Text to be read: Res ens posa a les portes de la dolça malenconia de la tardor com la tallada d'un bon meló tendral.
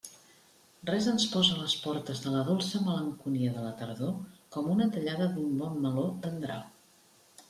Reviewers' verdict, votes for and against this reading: rejected, 0, 2